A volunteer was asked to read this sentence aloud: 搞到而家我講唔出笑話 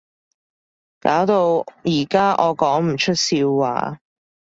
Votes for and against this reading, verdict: 2, 0, accepted